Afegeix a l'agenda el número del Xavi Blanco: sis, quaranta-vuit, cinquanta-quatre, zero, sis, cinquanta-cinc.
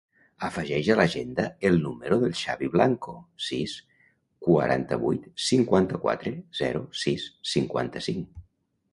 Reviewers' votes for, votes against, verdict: 1, 2, rejected